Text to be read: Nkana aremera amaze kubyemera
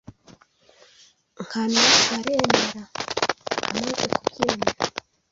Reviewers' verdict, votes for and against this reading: rejected, 1, 2